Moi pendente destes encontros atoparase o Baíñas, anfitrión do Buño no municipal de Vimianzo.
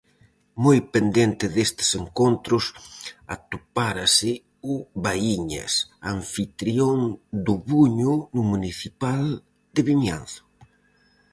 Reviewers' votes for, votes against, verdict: 0, 4, rejected